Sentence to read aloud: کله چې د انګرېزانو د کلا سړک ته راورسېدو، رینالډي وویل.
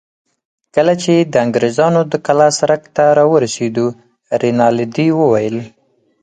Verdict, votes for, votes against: accepted, 4, 0